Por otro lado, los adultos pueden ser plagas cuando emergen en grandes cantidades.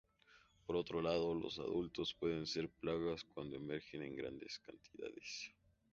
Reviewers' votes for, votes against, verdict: 2, 0, accepted